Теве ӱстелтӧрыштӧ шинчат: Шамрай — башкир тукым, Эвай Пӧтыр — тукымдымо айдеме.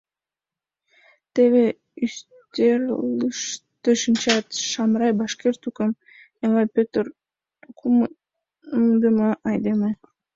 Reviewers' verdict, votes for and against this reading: rejected, 0, 2